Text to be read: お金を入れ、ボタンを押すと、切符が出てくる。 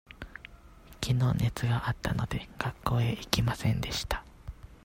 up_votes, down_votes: 0, 2